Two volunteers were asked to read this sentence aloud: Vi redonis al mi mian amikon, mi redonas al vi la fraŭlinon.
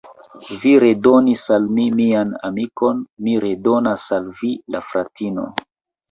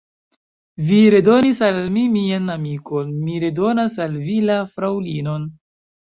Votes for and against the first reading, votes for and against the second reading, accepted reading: 2, 3, 2, 0, second